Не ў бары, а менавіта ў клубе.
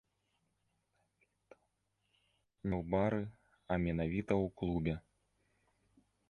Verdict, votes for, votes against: rejected, 0, 2